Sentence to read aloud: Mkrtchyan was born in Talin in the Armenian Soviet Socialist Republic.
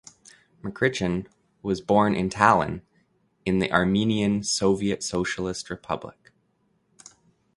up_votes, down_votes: 2, 0